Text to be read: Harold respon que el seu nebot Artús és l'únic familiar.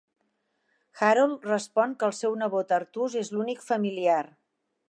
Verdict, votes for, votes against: accepted, 2, 0